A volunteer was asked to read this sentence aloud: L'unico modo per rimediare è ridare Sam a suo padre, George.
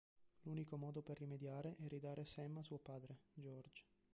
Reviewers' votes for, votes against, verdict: 0, 2, rejected